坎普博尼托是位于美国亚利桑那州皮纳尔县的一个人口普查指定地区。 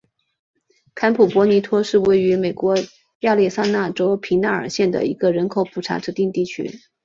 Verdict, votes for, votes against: rejected, 1, 2